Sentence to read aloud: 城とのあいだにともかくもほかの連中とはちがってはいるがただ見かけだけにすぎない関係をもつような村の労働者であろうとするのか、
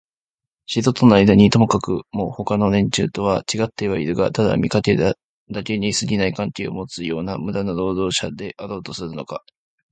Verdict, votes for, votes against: rejected, 0, 2